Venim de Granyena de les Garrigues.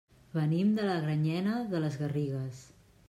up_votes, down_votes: 0, 2